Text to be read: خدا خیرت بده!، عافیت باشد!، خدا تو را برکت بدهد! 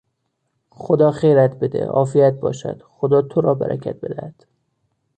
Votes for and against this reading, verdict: 2, 0, accepted